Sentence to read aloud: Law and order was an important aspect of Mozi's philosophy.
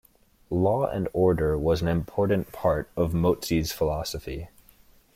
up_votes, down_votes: 0, 2